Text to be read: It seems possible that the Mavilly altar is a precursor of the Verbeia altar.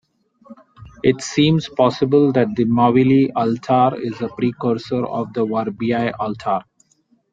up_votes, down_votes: 2, 0